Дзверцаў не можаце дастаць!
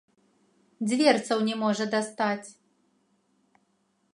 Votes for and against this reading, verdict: 0, 2, rejected